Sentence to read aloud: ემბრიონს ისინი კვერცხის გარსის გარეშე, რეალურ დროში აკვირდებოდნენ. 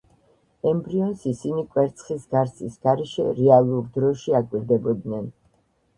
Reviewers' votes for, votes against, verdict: 2, 0, accepted